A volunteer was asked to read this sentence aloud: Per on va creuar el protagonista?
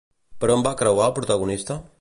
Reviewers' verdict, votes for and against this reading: accepted, 2, 0